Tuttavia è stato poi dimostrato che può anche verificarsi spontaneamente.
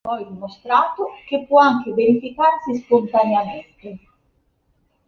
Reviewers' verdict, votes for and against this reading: rejected, 1, 2